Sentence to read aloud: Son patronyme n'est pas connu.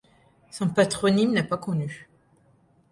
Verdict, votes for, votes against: accepted, 2, 0